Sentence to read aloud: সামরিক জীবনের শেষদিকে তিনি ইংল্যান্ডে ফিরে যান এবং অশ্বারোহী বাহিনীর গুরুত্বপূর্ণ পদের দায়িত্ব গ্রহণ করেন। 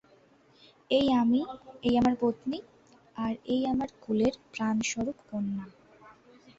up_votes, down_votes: 0, 2